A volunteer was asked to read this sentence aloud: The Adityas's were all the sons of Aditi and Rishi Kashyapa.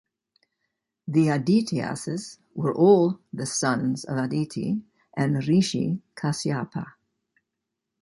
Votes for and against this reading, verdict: 2, 0, accepted